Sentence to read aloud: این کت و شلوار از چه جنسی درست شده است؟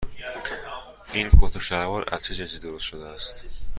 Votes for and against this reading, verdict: 2, 0, accepted